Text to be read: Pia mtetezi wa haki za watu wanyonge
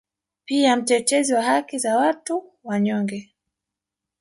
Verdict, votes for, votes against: accepted, 2, 0